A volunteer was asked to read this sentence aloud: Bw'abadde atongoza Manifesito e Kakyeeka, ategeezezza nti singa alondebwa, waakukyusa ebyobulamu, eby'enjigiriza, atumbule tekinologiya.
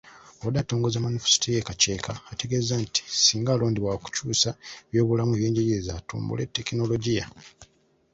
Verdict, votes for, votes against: accepted, 2, 0